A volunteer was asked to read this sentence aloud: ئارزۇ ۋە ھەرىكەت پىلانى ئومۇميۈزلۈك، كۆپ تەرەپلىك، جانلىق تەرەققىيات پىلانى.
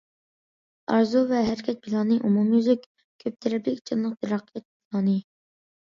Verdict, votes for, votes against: accepted, 2, 1